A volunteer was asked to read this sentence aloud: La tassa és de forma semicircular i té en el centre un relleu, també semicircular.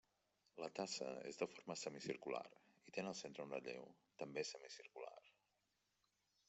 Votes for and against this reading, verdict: 0, 2, rejected